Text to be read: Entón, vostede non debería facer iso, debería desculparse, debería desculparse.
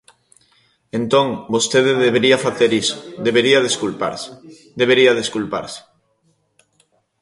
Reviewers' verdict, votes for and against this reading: rejected, 0, 3